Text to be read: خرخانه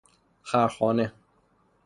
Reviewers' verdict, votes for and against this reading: accepted, 3, 0